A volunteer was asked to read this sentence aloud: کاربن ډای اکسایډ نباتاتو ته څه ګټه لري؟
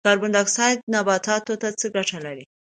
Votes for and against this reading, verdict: 2, 0, accepted